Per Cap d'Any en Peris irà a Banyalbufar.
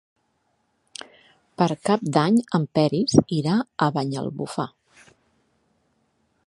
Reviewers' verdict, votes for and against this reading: accepted, 3, 0